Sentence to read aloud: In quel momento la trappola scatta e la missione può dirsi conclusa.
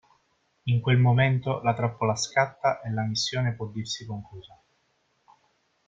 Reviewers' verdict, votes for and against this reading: accepted, 2, 0